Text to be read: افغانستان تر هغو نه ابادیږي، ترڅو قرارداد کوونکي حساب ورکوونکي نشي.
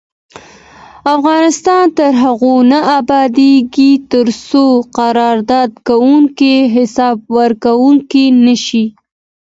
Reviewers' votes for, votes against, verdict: 2, 3, rejected